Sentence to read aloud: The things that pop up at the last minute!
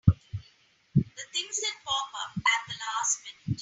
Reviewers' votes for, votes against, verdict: 2, 1, accepted